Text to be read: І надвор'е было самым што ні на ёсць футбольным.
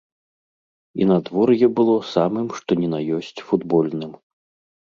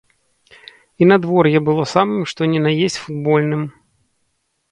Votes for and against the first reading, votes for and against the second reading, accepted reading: 2, 0, 0, 2, first